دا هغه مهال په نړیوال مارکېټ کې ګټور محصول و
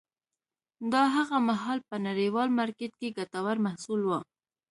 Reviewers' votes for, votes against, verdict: 2, 0, accepted